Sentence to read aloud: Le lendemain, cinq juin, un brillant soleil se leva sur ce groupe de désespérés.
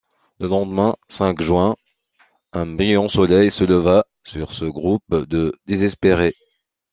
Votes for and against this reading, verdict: 2, 0, accepted